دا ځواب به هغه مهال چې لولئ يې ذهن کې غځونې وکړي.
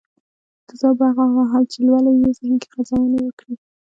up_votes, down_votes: 2, 0